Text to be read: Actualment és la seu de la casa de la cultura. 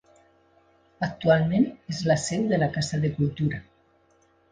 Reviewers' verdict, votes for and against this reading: rejected, 1, 2